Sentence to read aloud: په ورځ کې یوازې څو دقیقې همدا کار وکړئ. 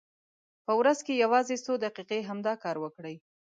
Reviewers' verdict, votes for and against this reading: accepted, 2, 0